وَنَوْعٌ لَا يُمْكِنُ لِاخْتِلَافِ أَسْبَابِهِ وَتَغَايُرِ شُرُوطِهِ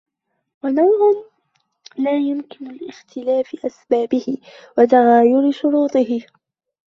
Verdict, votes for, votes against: rejected, 0, 2